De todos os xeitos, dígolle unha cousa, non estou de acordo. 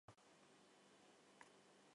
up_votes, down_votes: 0, 2